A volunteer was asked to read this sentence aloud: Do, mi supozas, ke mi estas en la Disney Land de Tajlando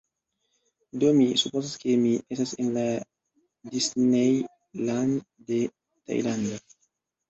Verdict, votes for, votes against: rejected, 0, 2